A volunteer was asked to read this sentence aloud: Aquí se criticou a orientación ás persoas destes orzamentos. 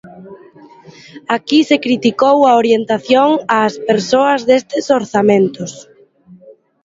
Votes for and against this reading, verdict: 0, 2, rejected